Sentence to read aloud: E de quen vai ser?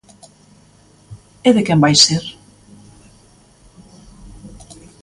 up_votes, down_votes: 2, 0